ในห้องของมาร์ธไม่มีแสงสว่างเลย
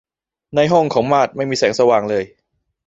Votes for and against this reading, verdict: 2, 3, rejected